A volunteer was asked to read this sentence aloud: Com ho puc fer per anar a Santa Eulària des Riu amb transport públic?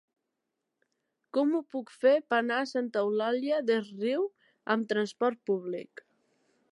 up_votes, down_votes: 1, 2